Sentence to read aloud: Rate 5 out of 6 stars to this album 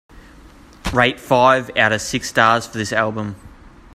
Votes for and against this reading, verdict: 0, 2, rejected